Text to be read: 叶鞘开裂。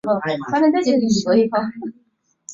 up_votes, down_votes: 0, 4